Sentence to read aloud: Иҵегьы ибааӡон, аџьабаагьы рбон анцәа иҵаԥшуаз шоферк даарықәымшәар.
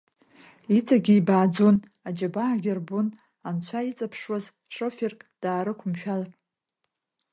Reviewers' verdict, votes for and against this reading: accepted, 2, 0